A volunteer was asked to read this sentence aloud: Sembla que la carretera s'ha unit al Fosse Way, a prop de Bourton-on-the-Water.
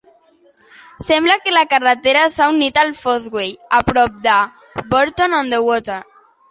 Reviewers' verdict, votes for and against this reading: accepted, 2, 0